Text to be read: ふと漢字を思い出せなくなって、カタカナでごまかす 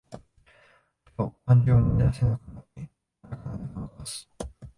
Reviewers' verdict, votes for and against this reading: rejected, 0, 2